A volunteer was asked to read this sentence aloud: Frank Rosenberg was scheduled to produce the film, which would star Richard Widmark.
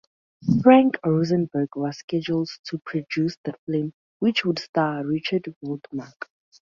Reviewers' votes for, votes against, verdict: 0, 2, rejected